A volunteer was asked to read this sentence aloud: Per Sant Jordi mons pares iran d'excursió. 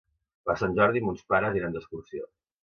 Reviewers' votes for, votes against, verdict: 2, 0, accepted